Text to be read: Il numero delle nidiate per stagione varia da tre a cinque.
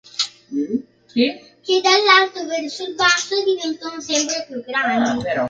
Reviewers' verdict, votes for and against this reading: rejected, 0, 2